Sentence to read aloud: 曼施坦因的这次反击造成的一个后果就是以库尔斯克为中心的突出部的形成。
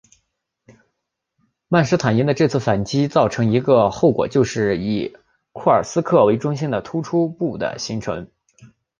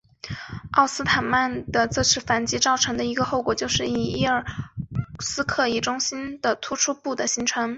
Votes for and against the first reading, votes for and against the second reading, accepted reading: 1, 2, 2, 1, second